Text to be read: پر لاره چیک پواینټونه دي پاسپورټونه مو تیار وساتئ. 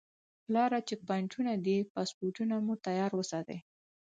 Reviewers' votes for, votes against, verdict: 4, 0, accepted